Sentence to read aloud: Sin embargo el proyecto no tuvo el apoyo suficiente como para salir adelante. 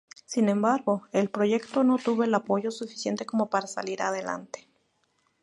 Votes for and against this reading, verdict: 2, 0, accepted